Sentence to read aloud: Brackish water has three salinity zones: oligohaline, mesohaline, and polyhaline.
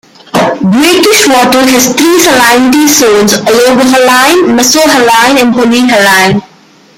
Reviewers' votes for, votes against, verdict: 0, 2, rejected